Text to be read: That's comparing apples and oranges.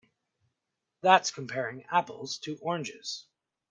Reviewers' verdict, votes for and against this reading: rejected, 0, 2